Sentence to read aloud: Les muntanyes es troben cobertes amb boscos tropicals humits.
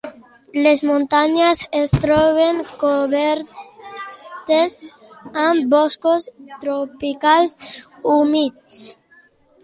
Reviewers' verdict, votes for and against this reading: rejected, 1, 2